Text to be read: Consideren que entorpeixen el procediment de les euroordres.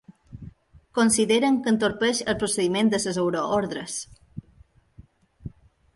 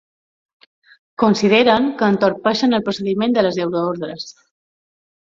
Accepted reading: second